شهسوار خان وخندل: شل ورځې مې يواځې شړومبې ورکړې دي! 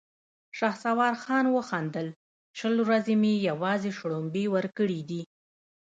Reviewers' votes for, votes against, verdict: 1, 2, rejected